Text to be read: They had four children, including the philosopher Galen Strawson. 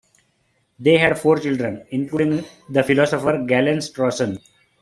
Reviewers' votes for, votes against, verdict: 2, 1, accepted